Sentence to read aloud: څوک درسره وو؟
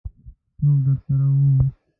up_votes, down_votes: 0, 2